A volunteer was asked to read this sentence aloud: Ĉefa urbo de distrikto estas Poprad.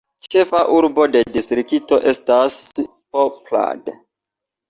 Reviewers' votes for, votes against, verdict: 2, 0, accepted